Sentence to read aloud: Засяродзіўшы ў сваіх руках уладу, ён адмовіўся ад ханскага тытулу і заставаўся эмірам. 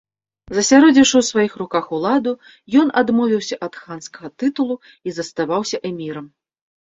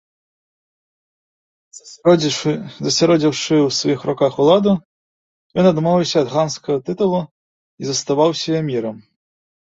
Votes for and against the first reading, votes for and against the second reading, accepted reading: 3, 0, 0, 2, first